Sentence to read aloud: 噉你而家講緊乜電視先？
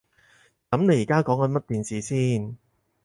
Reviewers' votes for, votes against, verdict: 4, 0, accepted